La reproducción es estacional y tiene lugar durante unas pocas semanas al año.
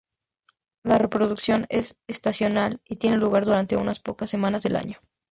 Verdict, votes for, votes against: rejected, 0, 2